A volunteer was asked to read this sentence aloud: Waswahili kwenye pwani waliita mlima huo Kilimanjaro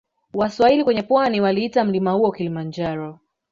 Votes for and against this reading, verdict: 0, 2, rejected